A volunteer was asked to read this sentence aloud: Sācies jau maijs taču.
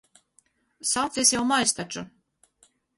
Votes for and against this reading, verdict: 2, 2, rejected